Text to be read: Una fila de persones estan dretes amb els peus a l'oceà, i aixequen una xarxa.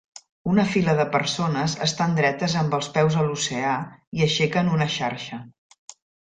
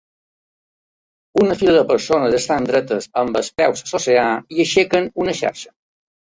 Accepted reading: first